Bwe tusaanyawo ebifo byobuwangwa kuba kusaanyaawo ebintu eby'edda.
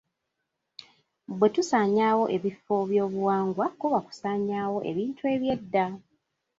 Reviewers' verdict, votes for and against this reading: rejected, 1, 2